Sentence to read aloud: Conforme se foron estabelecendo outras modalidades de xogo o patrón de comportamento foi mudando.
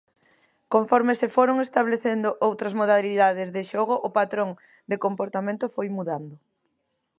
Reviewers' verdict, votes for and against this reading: rejected, 0, 2